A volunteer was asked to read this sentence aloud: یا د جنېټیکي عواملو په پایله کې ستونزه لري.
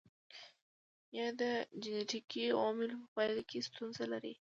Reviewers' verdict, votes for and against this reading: accepted, 2, 0